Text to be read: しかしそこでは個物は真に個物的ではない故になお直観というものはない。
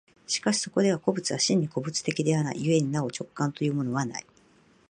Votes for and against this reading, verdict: 3, 1, accepted